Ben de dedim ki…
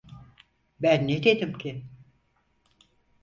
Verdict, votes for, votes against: rejected, 0, 4